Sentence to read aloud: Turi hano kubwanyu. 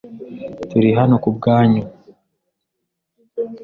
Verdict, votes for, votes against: accepted, 2, 0